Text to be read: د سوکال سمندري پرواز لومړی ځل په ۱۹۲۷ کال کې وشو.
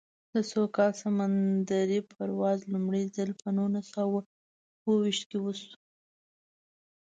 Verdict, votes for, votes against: rejected, 0, 2